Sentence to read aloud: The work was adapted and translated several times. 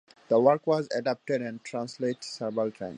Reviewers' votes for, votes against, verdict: 2, 1, accepted